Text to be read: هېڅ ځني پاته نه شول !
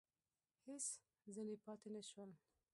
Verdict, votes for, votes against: rejected, 0, 2